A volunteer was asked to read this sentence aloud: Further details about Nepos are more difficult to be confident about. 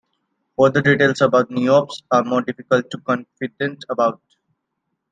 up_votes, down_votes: 1, 2